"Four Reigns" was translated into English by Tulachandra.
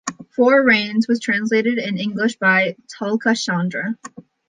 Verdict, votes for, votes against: rejected, 1, 2